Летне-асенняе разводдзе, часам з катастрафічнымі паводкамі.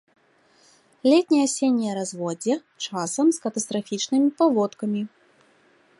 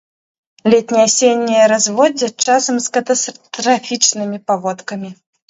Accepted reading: first